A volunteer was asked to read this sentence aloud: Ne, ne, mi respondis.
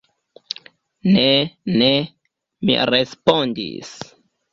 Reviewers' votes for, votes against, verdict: 2, 0, accepted